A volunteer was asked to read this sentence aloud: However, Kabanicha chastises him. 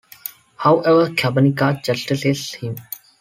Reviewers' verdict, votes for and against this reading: rejected, 1, 2